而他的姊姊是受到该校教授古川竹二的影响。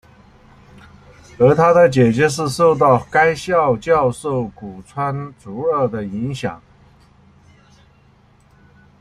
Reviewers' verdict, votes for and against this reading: rejected, 0, 2